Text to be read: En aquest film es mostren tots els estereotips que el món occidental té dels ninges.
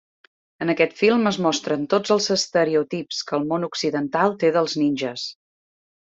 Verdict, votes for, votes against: rejected, 0, 2